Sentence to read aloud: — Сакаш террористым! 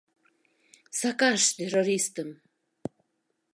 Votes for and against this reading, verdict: 2, 0, accepted